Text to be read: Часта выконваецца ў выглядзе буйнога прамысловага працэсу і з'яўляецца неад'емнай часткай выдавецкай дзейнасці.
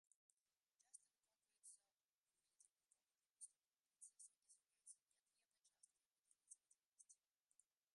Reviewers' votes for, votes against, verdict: 0, 2, rejected